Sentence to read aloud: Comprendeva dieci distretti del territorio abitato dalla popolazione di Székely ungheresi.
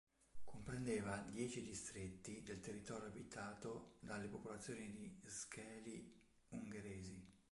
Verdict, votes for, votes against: rejected, 1, 2